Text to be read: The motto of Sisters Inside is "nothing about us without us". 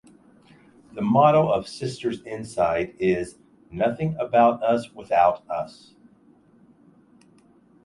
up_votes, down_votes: 2, 0